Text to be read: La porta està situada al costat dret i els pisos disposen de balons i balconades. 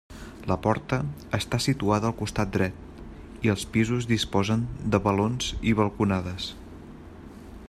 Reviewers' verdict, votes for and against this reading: accepted, 3, 0